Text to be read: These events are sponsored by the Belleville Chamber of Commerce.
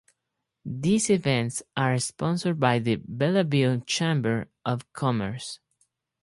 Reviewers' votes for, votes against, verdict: 4, 0, accepted